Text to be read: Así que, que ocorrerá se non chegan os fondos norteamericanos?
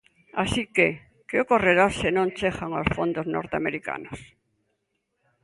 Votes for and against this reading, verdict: 2, 0, accepted